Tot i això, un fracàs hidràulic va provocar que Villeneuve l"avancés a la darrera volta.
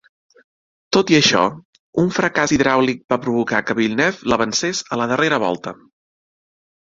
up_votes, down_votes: 2, 1